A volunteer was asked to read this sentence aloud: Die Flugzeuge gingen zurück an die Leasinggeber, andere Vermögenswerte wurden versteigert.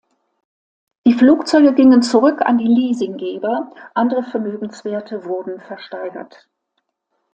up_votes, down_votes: 2, 0